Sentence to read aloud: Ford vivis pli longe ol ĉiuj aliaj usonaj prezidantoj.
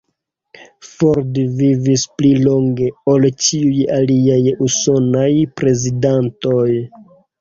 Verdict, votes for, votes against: rejected, 0, 2